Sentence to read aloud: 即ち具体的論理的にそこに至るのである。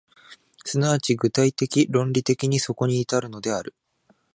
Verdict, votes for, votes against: accepted, 3, 0